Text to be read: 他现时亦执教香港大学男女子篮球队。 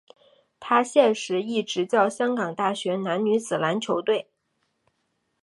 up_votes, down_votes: 4, 0